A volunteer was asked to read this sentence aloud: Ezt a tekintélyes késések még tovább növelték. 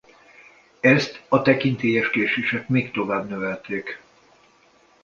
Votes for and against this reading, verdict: 2, 0, accepted